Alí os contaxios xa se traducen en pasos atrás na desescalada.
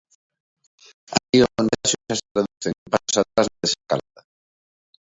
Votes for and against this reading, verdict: 0, 2, rejected